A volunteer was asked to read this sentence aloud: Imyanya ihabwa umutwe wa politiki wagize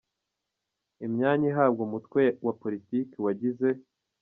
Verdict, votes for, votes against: rejected, 0, 2